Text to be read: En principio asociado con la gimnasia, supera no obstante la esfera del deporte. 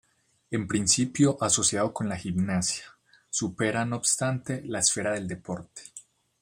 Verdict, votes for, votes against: accepted, 2, 0